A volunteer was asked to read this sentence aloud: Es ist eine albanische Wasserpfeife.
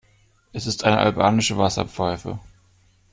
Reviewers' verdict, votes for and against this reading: accepted, 2, 0